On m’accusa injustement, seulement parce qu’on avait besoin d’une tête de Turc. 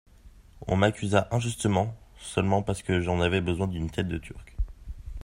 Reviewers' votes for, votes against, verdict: 1, 2, rejected